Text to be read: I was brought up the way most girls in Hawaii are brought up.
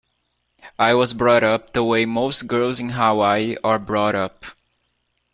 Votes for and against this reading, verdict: 2, 0, accepted